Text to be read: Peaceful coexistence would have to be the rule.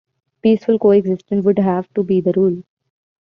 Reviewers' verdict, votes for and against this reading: rejected, 1, 2